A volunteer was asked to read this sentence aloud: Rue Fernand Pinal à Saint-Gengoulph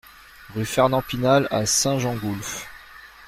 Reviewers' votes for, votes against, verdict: 2, 0, accepted